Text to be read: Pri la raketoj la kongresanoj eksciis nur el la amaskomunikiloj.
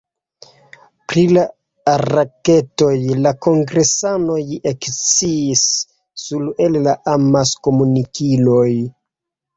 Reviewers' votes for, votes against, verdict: 2, 0, accepted